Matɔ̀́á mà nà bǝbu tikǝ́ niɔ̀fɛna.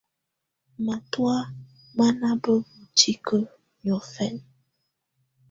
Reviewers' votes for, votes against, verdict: 2, 0, accepted